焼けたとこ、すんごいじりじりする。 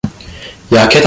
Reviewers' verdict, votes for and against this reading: rejected, 0, 2